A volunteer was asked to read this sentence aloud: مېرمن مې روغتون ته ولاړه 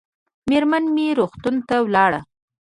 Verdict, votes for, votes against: accepted, 2, 0